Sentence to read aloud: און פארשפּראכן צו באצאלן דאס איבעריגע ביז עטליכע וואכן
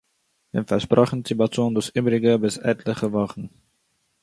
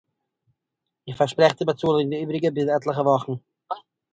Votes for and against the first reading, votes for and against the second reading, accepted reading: 2, 0, 0, 2, first